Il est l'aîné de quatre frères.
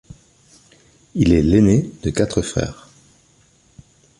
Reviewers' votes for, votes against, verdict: 2, 0, accepted